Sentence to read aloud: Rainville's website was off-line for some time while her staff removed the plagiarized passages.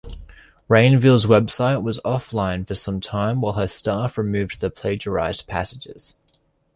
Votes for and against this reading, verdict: 2, 0, accepted